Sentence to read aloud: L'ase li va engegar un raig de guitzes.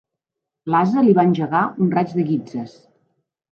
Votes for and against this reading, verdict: 2, 0, accepted